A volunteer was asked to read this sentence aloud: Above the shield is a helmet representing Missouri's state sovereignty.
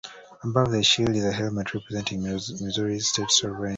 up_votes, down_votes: 1, 2